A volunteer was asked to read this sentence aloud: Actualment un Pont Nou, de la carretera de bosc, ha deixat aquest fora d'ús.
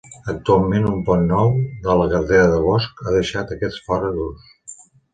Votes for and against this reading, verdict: 2, 1, accepted